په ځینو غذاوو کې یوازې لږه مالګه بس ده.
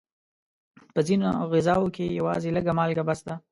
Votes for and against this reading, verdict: 2, 0, accepted